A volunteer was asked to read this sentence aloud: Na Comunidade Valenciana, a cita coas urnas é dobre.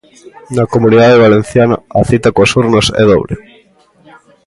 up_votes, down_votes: 1, 2